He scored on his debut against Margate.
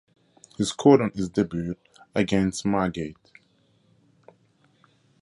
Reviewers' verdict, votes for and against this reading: rejected, 2, 2